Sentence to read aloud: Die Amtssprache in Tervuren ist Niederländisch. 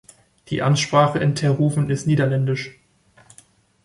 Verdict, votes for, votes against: rejected, 1, 2